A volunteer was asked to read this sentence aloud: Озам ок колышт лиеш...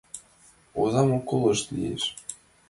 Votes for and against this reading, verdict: 1, 2, rejected